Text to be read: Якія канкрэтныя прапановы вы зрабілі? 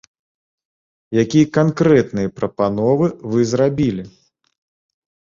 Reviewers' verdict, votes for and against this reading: accepted, 3, 0